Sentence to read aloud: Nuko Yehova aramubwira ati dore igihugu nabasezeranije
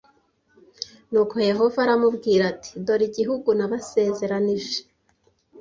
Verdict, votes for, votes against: accepted, 2, 0